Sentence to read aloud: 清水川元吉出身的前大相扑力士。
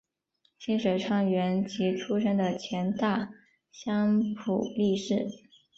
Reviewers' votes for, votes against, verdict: 3, 0, accepted